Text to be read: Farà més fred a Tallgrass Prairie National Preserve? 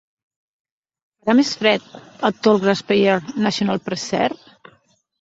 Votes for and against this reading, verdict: 1, 2, rejected